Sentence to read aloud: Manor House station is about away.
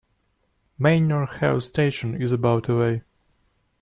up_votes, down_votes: 0, 2